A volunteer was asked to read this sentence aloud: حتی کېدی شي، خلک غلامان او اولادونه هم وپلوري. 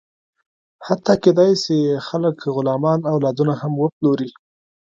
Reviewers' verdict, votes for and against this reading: rejected, 1, 2